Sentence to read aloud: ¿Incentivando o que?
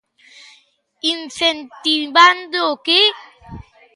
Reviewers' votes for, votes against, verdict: 3, 0, accepted